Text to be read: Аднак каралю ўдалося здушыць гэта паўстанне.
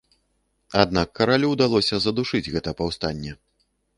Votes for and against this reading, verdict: 0, 2, rejected